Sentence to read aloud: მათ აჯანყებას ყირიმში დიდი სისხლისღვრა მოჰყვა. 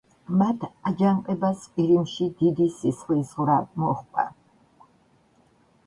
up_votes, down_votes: 1, 2